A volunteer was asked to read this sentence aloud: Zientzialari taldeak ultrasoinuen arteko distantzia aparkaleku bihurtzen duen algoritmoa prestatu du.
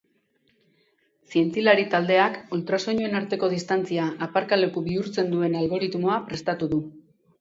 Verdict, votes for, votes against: rejected, 2, 2